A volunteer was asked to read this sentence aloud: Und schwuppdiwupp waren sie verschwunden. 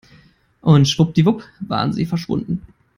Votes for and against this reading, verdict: 4, 0, accepted